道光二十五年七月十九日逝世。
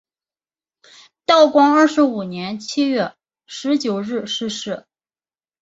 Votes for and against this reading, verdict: 3, 0, accepted